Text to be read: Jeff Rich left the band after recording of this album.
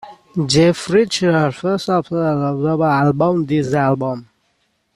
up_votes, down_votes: 0, 2